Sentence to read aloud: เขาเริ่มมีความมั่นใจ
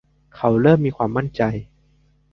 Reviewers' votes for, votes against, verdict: 2, 0, accepted